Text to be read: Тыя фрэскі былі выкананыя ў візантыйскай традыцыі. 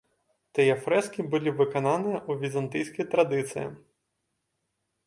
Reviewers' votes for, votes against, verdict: 0, 2, rejected